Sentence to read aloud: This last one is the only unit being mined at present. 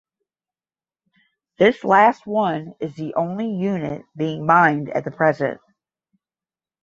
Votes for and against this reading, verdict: 0, 10, rejected